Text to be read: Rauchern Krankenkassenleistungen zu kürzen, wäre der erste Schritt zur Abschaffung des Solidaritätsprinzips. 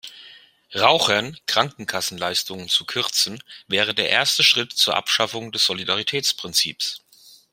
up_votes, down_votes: 0, 2